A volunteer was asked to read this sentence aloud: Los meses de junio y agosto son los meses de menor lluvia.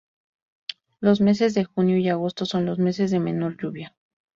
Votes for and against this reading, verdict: 4, 0, accepted